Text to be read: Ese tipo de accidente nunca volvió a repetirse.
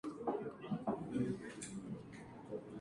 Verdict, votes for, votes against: accepted, 2, 0